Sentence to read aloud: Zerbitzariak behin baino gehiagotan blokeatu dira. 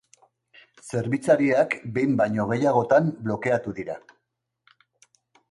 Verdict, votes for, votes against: accepted, 3, 0